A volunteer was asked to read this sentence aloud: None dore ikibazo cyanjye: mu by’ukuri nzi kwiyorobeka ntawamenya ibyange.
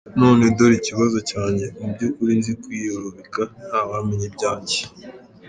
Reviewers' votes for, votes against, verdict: 2, 0, accepted